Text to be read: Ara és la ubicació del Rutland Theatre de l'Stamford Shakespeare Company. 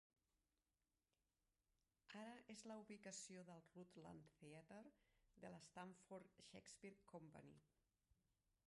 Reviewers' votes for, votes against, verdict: 0, 2, rejected